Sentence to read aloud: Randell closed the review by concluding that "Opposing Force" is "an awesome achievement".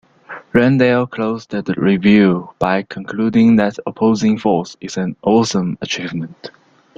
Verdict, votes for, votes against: accepted, 2, 0